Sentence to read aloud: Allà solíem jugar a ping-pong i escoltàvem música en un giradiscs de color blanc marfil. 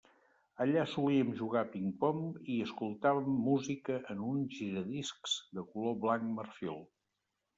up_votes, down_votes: 3, 1